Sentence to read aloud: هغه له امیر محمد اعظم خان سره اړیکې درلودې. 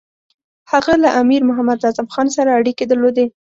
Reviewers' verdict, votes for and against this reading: accepted, 2, 0